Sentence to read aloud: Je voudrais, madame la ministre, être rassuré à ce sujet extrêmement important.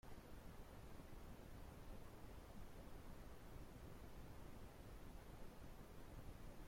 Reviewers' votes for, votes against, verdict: 0, 2, rejected